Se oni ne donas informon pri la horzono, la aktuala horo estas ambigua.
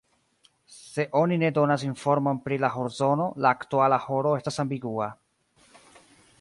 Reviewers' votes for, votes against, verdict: 1, 2, rejected